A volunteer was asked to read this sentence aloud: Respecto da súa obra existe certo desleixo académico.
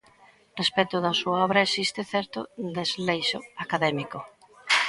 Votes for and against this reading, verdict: 2, 1, accepted